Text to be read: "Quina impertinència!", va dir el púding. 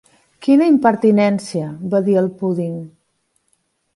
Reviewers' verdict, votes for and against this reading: accepted, 3, 0